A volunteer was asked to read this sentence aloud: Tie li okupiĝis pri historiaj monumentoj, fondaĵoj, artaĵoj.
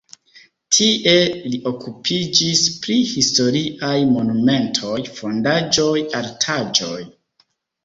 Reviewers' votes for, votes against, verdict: 2, 1, accepted